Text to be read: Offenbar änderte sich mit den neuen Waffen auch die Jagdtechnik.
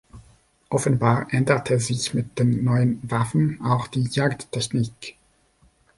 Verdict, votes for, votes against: accepted, 2, 0